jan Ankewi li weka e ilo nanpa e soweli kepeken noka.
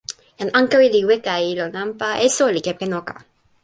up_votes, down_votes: 1, 2